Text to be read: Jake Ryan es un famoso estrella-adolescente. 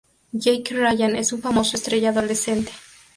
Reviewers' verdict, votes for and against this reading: accepted, 2, 0